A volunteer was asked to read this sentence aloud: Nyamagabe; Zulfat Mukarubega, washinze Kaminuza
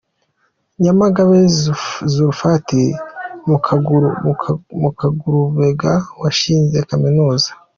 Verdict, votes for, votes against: rejected, 0, 2